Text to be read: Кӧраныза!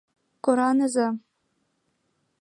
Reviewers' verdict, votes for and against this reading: rejected, 0, 2